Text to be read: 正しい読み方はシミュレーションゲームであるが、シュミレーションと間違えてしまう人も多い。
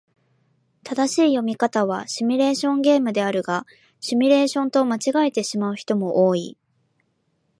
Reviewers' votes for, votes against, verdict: 2, 0, accepted